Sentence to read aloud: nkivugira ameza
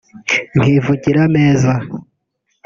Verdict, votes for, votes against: rejected, 1, 2